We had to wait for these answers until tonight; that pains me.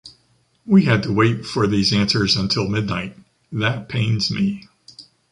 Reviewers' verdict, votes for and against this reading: rejected, 1, 2